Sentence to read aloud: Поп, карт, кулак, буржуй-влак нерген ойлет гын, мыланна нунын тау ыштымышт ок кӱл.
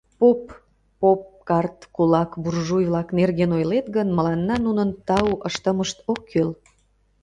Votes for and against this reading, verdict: 0, 2, rejected